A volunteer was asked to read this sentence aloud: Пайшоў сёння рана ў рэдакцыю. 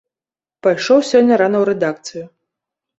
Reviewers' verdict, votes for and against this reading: accepted, 2, 0